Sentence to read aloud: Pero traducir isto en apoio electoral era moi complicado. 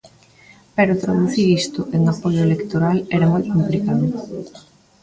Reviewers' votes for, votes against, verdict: 0, 2, rejected